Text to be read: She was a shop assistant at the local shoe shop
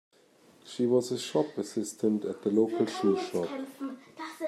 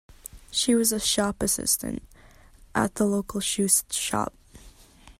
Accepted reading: first